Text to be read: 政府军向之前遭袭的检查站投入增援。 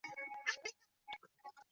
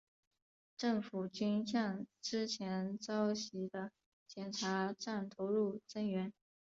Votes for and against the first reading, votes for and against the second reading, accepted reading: 0, 2, 3, 0, second